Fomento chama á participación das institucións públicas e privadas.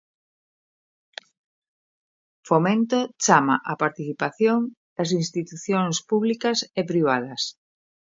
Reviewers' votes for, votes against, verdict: 2, 0, accepted